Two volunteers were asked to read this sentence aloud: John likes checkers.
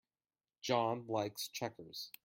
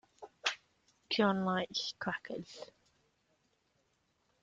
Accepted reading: first